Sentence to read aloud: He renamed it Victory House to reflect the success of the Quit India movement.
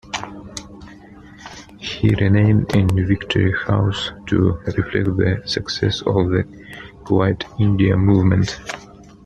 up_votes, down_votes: 0, 2